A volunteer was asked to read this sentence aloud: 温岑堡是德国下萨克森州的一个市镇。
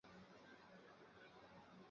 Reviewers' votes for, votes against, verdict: 0, 2, rejected